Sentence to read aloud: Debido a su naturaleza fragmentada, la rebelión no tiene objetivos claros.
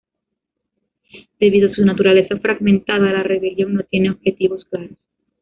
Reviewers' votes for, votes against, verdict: 1, 2, rejected